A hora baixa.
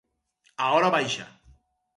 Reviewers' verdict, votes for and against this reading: accepted, 4, 0